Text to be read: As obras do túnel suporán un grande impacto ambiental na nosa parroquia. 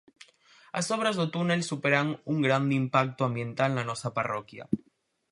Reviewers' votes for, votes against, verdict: 0, 4, rejected